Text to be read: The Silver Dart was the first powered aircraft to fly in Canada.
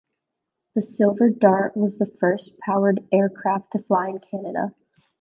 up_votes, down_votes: 1, 2